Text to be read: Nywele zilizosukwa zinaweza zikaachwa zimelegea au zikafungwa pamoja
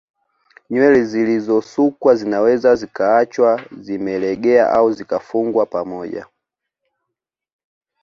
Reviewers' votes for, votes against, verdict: 2, 0, accepted